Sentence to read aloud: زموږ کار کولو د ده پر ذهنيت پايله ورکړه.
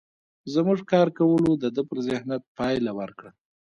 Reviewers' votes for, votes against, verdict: 1, 2, rejected